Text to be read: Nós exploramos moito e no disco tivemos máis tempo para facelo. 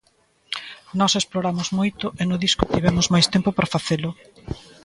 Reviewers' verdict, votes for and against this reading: accepted, 2, 0